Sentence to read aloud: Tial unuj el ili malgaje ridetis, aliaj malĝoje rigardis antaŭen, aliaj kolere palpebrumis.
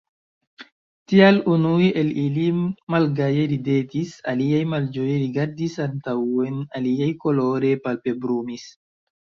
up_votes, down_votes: 1, 2